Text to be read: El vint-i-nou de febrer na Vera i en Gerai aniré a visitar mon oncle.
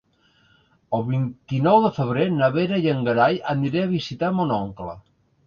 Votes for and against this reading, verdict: 0, 2, rejected